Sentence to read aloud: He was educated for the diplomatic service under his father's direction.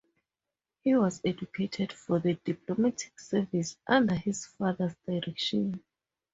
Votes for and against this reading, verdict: 2, 0, accepted